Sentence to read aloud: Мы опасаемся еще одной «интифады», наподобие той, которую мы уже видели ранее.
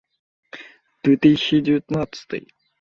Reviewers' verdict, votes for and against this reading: rejected, 0, 2